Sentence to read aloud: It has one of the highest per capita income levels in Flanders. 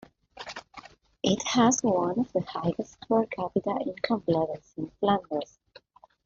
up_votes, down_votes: 1, 2